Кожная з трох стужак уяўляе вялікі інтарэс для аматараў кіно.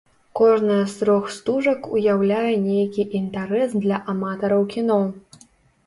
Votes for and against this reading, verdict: 0, 2, rejected